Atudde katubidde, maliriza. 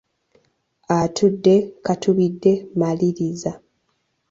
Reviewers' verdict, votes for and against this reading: accepted, 2, 0